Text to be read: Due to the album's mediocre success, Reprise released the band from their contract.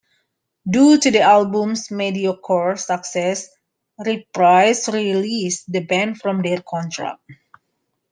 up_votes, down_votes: 2, 0